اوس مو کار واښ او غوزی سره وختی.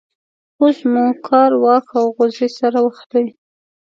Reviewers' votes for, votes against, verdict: 2, 0, accepted